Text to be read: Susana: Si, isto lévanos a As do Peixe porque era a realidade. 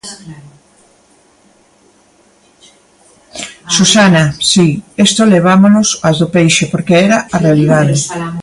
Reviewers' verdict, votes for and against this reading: rejected, 0, 2